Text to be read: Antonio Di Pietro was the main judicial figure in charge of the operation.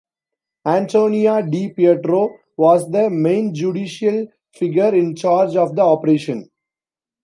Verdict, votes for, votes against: accepted, 2, 0